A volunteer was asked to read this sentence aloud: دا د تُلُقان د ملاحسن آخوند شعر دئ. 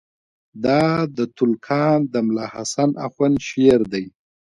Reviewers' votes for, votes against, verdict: 1, 2, rejected